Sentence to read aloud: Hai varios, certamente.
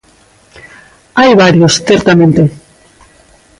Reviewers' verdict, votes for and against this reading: accepted, 2, 0